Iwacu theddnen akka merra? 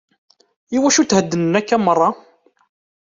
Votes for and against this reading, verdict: 2, 0, accepted